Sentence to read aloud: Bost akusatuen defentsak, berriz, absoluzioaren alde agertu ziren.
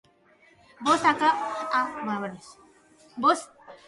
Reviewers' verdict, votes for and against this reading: rejected, 0, 2